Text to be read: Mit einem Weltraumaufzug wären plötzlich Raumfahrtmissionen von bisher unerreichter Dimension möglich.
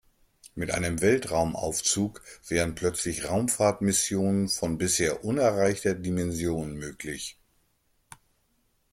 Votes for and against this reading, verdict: 2, 0, accepted